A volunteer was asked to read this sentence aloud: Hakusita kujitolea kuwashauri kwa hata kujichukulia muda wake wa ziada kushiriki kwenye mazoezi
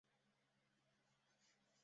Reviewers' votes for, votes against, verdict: 0, 2, rejected